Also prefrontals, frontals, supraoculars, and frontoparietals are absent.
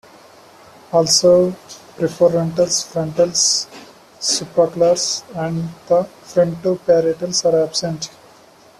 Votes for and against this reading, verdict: 1, 2, rejected